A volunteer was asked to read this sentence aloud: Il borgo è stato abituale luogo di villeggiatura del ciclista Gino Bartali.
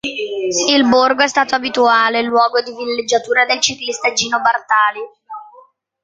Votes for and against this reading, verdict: 0, 2, rejected